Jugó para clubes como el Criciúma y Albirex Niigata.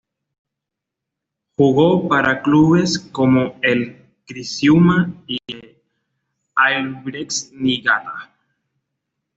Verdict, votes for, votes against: accepted, 2, 1